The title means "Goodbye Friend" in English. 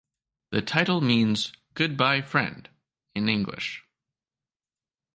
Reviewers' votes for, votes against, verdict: 2, 0, accepted